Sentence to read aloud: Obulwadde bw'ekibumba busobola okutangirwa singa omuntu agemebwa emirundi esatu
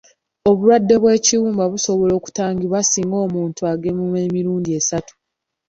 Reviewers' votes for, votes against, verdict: 3, 1, accepted